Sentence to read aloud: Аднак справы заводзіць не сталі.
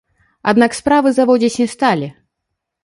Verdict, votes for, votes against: rejected, 0, 2